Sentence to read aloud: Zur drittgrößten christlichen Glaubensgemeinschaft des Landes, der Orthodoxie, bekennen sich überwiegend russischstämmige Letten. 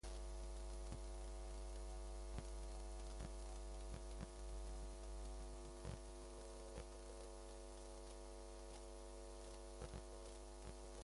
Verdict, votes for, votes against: rejected, 0, 2